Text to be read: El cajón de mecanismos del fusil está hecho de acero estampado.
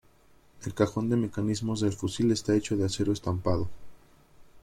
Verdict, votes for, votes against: rejected, 0, 2